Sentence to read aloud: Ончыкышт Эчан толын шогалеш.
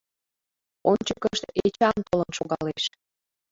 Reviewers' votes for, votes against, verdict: 2, 0, accepted